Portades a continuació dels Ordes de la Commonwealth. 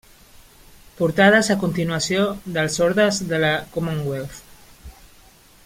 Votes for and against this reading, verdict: 3, 0, accepted